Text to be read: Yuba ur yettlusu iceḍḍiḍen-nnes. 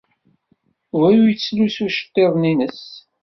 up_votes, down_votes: 2, 0